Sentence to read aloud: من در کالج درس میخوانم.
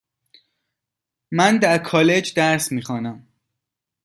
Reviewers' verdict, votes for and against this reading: accepted, 2, 0